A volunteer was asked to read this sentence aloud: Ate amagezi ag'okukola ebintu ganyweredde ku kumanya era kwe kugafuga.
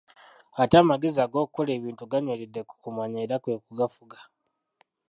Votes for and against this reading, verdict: 0, 2, rejected